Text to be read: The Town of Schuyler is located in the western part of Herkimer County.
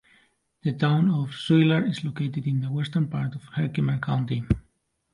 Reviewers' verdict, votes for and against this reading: accepted, 3, 2